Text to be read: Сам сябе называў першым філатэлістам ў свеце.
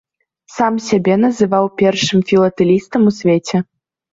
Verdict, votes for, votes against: accepted, 2, 0